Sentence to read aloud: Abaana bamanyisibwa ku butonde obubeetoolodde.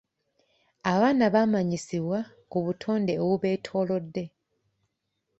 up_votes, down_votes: 2, 0